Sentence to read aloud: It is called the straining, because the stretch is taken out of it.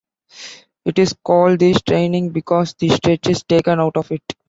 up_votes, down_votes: 3, 0